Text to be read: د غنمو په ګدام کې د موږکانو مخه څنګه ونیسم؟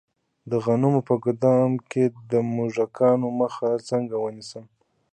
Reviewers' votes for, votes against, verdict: 2, 0, accepted